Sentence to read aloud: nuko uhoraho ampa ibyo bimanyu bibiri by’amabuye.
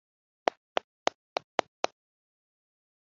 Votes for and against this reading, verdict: 1, 2, rejected